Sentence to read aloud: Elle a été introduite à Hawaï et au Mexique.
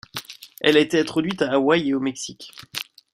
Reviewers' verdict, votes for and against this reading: accepted, 2, 0